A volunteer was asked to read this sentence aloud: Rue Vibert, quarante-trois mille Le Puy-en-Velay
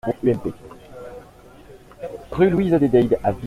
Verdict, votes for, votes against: rejected, 0, 2